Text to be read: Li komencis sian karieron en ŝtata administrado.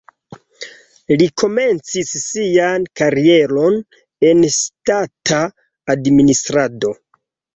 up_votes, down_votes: 0, 2